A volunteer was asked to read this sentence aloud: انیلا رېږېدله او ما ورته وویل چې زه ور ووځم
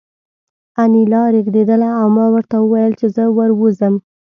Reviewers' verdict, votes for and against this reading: accepted, 2, 0